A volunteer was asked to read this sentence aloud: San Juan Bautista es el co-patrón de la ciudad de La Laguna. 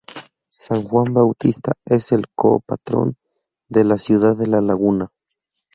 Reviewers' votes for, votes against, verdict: 2, 0, accepted